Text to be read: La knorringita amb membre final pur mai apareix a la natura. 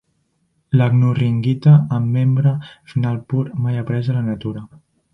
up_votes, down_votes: 1, 2